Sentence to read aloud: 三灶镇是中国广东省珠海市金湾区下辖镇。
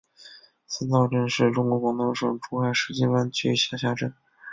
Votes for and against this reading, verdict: 1, 2, rejected